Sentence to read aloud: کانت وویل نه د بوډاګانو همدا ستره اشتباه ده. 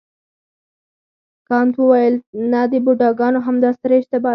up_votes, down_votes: 2, 4